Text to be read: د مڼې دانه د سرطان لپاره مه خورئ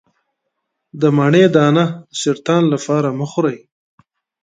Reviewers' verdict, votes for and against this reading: rejected, 0, 2